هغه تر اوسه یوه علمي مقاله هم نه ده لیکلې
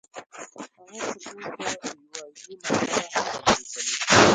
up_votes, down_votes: 0, 2